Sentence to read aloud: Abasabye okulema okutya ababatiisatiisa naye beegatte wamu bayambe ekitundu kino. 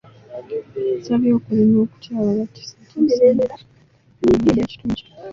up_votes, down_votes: 0, 3